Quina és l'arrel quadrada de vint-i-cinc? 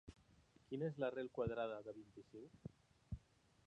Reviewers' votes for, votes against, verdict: 0, 2, rejected